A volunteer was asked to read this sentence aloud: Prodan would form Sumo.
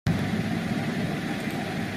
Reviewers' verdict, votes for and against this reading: rejected, 0, 2